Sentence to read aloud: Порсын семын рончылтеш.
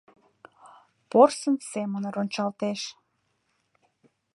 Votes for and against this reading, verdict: 0, 2, rejected